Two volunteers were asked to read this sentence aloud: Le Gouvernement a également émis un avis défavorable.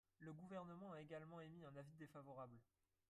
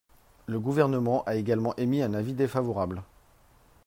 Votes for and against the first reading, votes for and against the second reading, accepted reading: 2, 4, 3, 0, second